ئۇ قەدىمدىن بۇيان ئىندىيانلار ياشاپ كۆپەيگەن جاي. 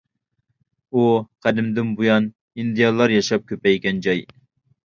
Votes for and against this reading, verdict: 2, 0, accepted